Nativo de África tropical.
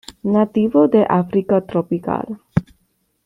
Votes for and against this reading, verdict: 2, 0, accepted